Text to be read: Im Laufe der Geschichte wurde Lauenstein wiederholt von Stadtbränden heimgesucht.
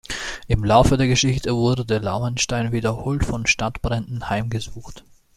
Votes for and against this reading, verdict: 1, 2, rejected